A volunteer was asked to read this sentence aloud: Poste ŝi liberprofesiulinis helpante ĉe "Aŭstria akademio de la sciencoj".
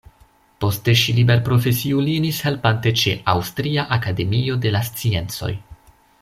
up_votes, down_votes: 2, 0